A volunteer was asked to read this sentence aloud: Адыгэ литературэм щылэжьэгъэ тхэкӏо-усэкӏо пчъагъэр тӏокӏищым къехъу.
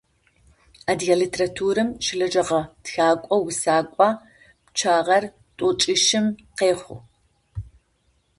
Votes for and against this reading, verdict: 2, 0, accepted